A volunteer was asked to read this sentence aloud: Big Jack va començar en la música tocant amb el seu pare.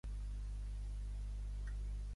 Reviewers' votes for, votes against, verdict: 1, 2, rejected